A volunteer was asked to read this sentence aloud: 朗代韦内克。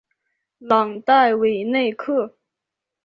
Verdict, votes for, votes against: accepted, 3, 0